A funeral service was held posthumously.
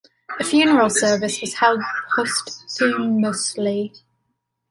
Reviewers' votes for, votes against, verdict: 2, 1, accepted